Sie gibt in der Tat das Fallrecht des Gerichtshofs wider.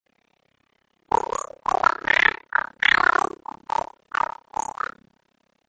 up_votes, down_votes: 0, 2